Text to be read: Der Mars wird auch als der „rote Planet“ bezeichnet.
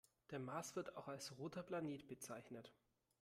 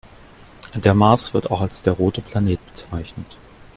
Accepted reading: second